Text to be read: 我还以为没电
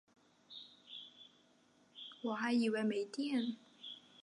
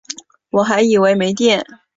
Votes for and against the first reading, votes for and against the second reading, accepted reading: 1, 3, 2, 0, second